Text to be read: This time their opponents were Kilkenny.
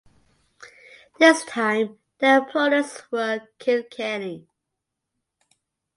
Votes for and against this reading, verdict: 2, 0, accepted